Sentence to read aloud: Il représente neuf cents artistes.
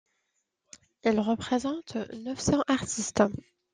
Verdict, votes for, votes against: accepted, 2, 1